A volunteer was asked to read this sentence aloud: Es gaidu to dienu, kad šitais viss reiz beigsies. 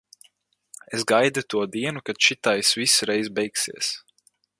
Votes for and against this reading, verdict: 2, 2, rejected